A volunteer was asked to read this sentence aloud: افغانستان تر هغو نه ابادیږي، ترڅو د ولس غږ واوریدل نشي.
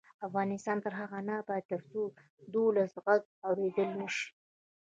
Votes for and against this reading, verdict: 1, 2, rejected